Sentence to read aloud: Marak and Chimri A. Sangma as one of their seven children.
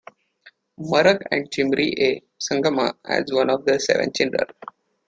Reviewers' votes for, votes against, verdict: 2, 1, accepted